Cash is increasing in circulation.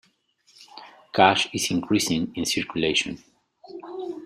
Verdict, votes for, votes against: accepted, 2, 0